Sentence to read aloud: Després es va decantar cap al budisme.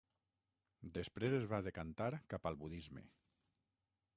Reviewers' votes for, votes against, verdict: 6, 0, accepted